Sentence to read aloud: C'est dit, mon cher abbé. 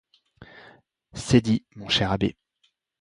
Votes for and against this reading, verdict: 2, 0, accepted